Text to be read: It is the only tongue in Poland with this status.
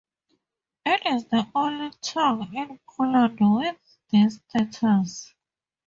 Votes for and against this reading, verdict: 2, 0, accepted